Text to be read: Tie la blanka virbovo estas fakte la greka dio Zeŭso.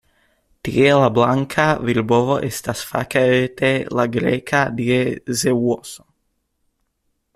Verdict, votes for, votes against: rejected, 0, 2